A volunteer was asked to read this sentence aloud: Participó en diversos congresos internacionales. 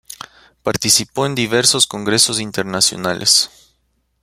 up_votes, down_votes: 2, 0